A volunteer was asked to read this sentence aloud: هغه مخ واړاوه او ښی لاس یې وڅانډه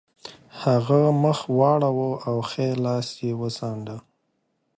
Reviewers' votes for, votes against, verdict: 2, 0, accepted